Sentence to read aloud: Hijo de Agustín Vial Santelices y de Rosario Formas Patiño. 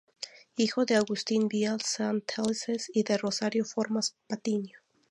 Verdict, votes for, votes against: rejected, 0, 2